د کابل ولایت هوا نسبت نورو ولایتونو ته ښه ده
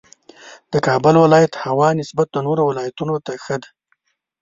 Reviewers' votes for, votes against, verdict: 1, 2, rejected